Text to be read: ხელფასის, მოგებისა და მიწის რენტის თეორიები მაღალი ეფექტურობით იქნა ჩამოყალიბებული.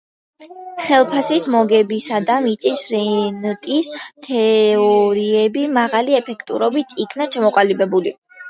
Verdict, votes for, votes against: accepted, 2, 1